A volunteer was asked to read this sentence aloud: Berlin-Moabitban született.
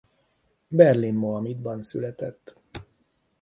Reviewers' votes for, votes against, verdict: 1, 2, rejected